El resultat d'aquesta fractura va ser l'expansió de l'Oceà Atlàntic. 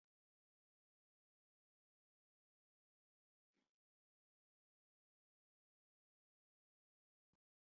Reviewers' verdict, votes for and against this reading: rejected, 0, 2